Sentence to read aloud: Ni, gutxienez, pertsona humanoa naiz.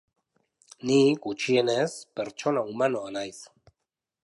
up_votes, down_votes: 3, 0